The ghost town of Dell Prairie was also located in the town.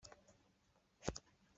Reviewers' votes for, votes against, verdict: 0, 2, rejected